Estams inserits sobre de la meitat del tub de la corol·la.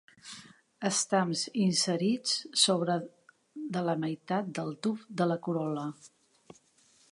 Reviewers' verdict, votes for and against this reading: accepted, 2, 0